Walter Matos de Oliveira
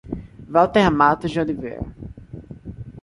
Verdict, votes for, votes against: accepted, 2, 0